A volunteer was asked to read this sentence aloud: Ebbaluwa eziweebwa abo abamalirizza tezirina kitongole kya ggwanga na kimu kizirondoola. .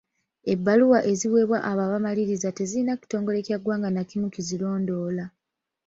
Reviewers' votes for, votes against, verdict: 1, 2, rejected